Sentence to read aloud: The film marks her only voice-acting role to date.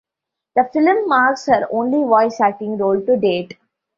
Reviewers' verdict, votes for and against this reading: rejected, 1, 2